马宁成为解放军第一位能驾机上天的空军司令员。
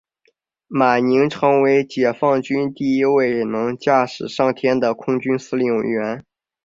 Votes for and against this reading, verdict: 2, 1, accepted